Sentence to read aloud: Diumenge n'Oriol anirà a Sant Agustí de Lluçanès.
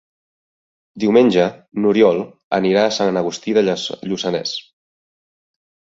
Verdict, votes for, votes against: rejected, 0, 2